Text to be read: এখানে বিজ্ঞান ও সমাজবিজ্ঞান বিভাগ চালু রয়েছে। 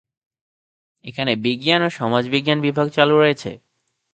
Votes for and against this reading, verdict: 0, 2, rejected